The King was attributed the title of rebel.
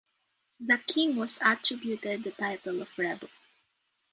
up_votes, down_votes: 2, 0